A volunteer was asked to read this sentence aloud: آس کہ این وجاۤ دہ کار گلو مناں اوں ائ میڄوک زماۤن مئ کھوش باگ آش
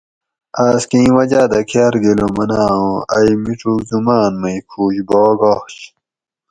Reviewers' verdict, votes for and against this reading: accepted, 4, 0